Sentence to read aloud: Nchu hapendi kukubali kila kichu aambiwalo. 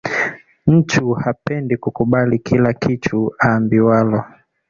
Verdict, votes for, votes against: rejected, 1, 2